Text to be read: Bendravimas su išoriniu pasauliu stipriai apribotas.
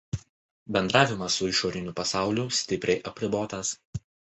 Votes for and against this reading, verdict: 2, 0, accepted